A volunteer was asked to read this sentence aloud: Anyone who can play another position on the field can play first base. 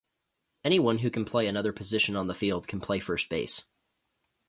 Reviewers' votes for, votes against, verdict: 2, 0, accepted